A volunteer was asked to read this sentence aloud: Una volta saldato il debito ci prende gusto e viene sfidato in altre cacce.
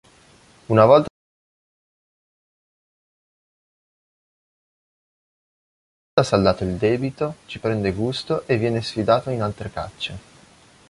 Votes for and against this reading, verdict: 1, 3, rejected